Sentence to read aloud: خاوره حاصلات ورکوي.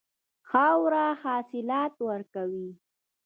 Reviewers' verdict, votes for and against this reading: rejected, 1, 2